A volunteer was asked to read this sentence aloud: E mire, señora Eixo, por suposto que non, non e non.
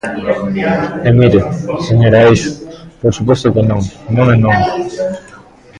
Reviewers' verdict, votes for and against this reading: rejected, 1, 2